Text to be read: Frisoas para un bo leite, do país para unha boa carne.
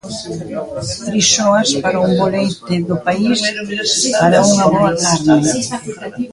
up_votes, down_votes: 3, 0